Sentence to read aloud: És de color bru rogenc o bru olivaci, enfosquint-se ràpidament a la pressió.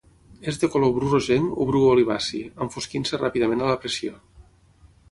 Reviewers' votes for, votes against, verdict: 6, 0, accepted